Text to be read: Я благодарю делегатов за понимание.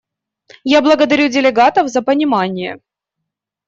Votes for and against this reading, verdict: 2, 0, accepted